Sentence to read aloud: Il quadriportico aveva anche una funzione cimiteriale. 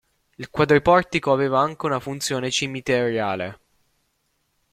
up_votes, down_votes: 1, 2